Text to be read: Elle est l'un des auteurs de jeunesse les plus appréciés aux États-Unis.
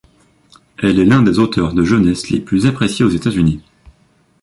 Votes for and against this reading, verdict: 2, 0, accepted